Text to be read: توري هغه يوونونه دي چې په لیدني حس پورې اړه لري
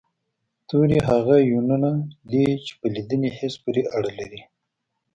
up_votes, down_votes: 1, 2